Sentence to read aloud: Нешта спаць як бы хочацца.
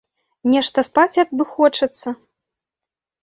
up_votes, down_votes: 2, 0